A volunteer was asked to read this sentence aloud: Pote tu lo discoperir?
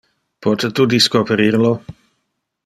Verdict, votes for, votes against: rejected, 1, 2